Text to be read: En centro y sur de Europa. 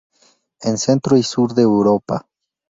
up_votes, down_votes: 2, 0